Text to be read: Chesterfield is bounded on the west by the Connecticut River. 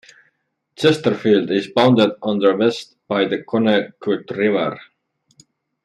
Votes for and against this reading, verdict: 0, 2, rejected